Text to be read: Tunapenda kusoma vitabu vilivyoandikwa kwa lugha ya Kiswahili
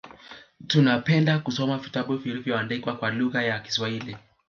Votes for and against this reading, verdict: 2, 0, accepted